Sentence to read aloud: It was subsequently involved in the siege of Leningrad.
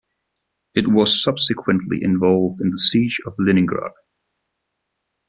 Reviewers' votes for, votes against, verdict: 2, 0, accepted